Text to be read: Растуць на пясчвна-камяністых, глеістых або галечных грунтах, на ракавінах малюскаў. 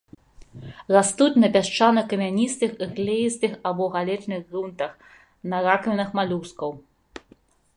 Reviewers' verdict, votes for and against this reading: rejected, 0, 2